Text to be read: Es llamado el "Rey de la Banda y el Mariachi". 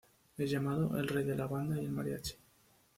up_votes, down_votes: 2, 0